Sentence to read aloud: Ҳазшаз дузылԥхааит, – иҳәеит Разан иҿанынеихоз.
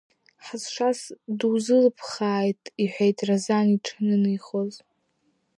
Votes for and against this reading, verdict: 2, 1, accepted